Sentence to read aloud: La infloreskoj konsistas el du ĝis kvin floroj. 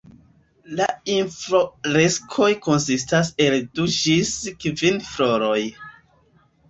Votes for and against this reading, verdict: 2, 0, accepted